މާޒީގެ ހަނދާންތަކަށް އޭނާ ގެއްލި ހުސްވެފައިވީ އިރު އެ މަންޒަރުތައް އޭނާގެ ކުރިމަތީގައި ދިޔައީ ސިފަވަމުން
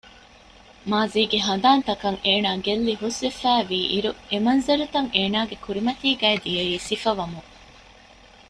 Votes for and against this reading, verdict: 2, 0, accepted